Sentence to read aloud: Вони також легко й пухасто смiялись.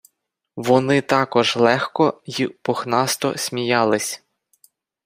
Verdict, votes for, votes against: rejected, 0, 4